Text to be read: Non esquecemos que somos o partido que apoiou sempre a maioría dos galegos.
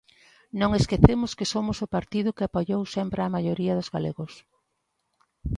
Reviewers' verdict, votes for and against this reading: accepted, 2, 0